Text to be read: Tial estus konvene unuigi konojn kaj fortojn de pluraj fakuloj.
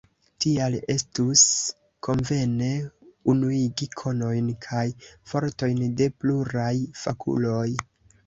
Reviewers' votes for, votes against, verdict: 2, 0, accepted